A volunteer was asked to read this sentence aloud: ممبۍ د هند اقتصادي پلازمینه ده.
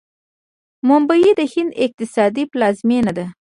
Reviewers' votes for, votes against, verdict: 2, 0, accepted